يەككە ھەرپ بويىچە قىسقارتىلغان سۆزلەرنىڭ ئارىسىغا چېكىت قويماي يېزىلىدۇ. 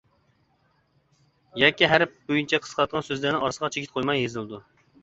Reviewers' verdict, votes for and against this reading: rejected, 1, 2